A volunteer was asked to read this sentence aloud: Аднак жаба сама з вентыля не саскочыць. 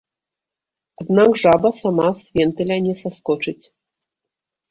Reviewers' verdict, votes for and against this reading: rejected, 1, 2